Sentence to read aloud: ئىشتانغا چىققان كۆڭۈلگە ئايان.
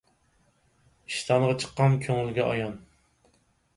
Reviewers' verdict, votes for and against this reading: accepted, 4, 0